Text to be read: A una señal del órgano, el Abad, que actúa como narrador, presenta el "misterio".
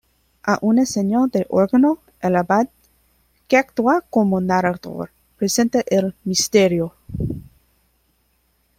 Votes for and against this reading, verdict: 1, 2, rejected